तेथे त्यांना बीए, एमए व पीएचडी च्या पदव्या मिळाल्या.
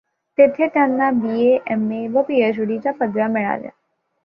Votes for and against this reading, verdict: 2, 0, accepted